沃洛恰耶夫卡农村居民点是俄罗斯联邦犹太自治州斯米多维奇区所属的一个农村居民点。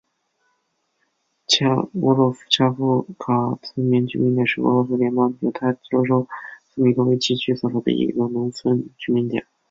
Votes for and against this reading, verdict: 0, 2, rejected